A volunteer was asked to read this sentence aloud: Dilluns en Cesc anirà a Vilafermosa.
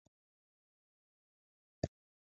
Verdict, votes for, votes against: rejected, 0, 2